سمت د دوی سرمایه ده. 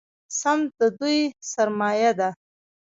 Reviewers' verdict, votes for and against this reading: rejected, 0, 2